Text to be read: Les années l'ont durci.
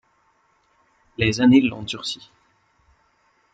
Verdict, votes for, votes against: accepted, 2, 0